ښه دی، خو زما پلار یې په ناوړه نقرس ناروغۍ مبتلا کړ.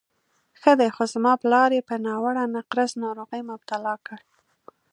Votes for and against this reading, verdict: 2, 0, accepted